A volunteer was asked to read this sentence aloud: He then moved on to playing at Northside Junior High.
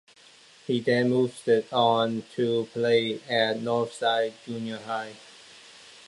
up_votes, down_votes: 1, 2